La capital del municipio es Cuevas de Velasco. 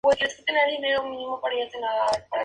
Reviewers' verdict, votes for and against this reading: rejected, 0, 2